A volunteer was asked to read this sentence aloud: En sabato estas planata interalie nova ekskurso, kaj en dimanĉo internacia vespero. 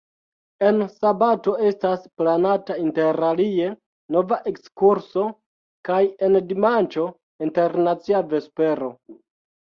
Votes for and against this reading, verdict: 1, 2, rejected